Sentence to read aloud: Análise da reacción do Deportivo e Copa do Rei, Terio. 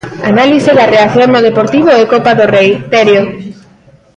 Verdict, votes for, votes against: rejected, 0, 2